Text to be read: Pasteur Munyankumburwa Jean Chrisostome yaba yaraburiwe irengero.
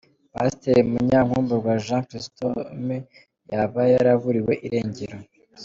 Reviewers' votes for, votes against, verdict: 2, 0, accepted